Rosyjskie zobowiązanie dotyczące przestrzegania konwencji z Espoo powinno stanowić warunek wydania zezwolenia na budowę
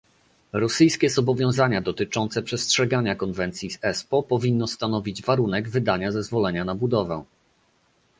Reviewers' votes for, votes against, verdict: 1, 2, rejected